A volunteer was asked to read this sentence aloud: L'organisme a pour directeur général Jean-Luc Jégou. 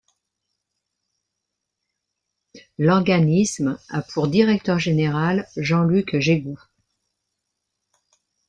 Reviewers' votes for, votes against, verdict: 1, 2, rejected